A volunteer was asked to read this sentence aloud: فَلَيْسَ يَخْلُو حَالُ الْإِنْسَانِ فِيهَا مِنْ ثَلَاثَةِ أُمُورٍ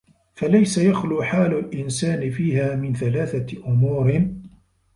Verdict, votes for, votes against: rejected, 0, 2